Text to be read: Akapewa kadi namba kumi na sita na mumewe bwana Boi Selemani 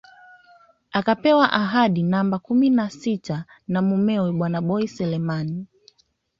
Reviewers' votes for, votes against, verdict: 2, 0, accepted